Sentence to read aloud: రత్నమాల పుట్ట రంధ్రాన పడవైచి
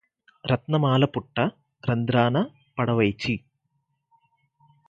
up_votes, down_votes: 4, 0